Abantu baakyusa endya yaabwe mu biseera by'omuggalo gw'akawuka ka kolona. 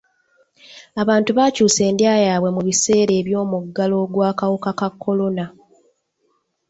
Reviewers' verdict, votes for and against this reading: accepted, 2, 0